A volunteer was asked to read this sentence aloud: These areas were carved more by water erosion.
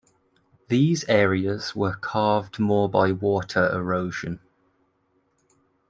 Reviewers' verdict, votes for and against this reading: rejected, 1, 2